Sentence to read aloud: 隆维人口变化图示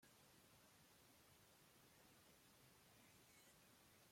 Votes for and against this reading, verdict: 0, 2, rejected